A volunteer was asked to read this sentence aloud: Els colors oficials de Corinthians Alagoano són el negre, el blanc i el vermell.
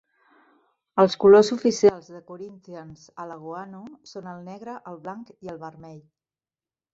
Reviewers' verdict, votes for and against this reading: rejected, 0, 4